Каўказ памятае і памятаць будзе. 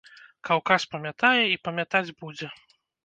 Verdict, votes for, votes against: rejected, 1, 2